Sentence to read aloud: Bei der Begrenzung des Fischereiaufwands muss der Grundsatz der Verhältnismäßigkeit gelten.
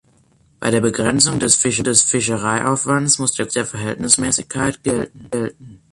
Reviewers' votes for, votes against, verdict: 0, 3, rejected